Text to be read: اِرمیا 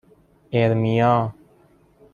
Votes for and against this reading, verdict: 2, 0, accepted